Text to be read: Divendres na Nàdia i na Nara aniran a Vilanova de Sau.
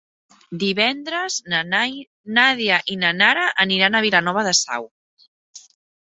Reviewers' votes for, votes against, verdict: 0, 2, rejected